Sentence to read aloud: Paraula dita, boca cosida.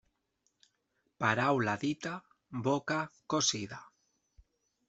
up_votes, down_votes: 1, 2